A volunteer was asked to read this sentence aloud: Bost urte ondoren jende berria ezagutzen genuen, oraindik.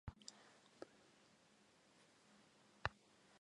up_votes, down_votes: 0, 5